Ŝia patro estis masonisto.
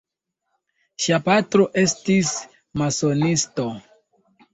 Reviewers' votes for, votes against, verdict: 2, 1, accepted